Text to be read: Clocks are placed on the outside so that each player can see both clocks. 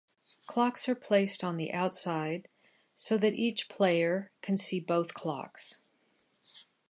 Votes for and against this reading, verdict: 2, 0, accepted